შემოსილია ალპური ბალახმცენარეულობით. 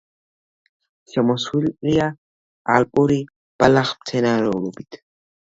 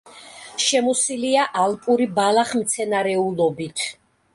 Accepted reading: second